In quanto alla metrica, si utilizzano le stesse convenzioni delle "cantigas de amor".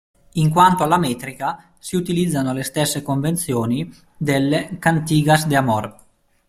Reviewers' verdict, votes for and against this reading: accepted, 2, 0